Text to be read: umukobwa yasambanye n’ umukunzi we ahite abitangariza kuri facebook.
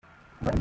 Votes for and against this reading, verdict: 0, 2, rejected